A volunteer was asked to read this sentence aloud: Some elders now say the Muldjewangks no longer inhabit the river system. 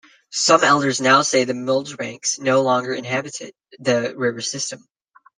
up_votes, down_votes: 0, 2